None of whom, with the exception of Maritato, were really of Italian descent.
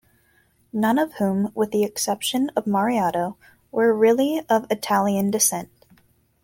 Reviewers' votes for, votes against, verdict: 1, 2, rejected